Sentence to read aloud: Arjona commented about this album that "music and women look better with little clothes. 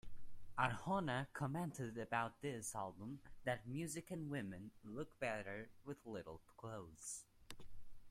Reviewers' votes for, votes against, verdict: 2, 1, accepted